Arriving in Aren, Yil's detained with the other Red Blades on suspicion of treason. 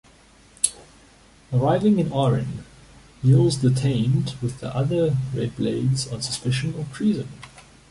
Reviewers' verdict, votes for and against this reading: accepted, 2, 0